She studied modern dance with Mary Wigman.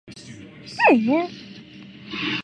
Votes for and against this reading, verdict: 1, 2, rejected